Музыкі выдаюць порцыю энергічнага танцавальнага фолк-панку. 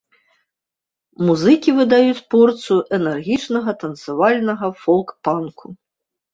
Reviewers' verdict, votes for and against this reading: accepted, 3, 0